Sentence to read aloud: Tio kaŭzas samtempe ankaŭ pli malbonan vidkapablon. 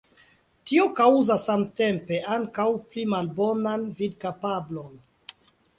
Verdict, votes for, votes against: accepted, 2, 0